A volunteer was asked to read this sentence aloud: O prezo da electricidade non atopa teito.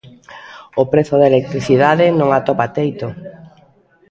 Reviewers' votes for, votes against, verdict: 2, 0, accepted